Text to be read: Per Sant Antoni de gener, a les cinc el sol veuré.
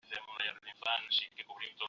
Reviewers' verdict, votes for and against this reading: rejected, 0, 2